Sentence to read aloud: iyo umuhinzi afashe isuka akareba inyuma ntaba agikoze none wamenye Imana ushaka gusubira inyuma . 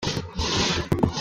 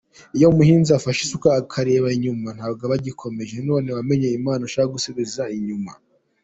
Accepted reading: second